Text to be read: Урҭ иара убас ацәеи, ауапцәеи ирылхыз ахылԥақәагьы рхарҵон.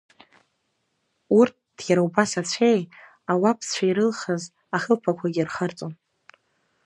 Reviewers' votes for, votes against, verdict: 2, 0, accepted